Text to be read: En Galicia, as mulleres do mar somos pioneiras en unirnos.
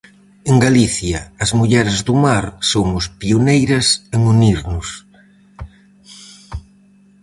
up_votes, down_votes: 4, 0